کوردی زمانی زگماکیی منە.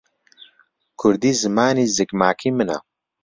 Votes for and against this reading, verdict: 2, 0, accepted